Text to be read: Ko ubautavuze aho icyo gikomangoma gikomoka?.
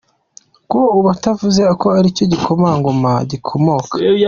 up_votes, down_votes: 1, 2